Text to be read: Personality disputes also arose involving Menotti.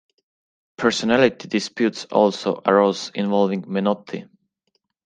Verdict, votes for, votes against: rejected, 1, 2